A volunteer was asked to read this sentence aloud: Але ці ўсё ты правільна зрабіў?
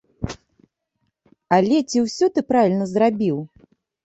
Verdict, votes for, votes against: accepted, 2, 0